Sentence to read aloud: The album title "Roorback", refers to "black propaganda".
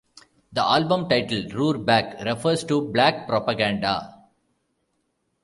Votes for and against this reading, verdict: 1, 2, rejected